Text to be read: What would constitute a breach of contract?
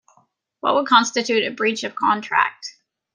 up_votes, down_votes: 2, 0